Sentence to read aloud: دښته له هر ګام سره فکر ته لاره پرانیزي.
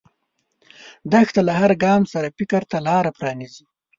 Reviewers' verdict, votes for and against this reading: accepted, 2, 0